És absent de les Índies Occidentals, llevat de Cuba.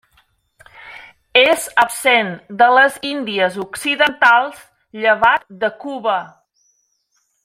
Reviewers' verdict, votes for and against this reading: accepted, 3, 0